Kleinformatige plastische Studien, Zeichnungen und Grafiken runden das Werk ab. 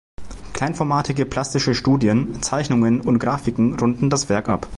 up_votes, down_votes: 2, 0